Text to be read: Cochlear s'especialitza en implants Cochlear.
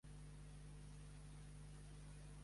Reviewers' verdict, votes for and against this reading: rejected, 1, 2